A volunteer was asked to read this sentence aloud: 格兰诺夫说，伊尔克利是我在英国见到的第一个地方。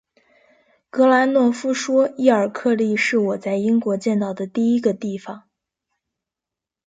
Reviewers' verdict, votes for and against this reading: accepted, 3, 0